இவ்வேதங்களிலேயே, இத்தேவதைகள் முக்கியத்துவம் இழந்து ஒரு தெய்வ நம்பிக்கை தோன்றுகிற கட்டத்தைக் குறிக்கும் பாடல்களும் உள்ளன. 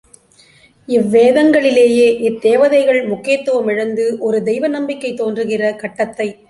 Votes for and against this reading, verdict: 0, 2, rejected